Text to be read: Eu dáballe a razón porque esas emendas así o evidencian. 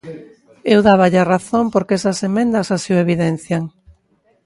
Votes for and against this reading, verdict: 3, 0, accepted